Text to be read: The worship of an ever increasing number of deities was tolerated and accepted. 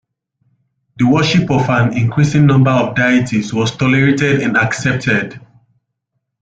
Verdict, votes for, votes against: rejected, 1, 2